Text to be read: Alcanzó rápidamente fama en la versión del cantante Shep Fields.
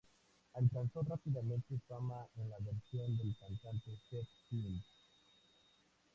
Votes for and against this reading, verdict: 0, 2, rejected